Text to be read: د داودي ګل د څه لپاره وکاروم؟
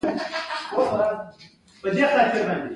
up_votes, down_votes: 2, 1